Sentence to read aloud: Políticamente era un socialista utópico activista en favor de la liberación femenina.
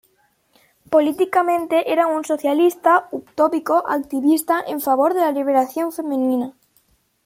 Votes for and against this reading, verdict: 2, 0, accepted